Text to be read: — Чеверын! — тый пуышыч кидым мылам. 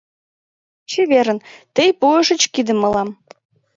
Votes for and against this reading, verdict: 4, 0, accepted